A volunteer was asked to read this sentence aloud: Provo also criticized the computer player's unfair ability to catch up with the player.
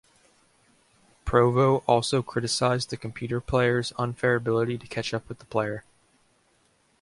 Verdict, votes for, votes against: accepted, 2, 0